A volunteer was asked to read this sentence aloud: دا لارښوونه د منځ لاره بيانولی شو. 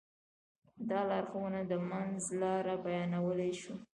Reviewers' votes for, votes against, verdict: 2, 0, accepted